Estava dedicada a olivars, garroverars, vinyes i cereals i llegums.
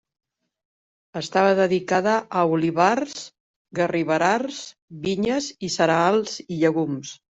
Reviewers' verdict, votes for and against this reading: rejected, 0, 2